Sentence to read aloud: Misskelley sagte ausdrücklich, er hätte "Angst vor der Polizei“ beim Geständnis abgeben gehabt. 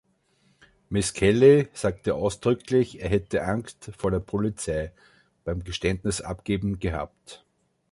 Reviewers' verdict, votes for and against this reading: accepted, 2, 0